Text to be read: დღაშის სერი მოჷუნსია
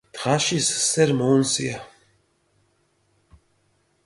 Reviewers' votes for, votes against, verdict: 0, 2, rejected